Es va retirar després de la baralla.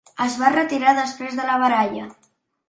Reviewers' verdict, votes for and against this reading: accepted, 3, 0